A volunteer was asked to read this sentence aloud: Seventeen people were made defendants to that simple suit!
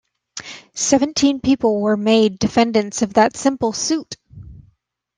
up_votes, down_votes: 0, 2